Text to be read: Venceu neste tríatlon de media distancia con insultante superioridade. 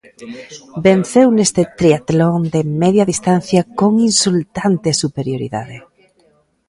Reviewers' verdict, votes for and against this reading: rejected, 1, 3